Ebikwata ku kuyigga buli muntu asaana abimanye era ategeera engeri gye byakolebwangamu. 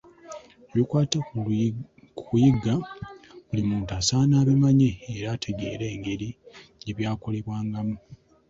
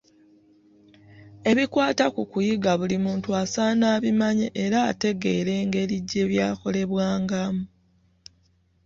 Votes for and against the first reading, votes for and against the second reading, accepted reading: 2, 1, 1, 2, first